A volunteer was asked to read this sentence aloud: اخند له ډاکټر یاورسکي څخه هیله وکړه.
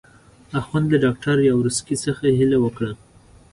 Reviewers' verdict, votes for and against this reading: accepted, 2, 0